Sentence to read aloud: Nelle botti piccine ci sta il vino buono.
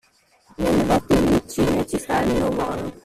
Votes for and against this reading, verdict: 0, 2, rejected